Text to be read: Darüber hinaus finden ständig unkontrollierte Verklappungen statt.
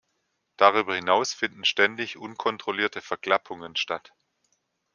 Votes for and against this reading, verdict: 2, 0, accepted